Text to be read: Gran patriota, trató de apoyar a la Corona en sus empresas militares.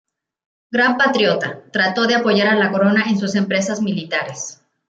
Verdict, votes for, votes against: accepted, 2, 0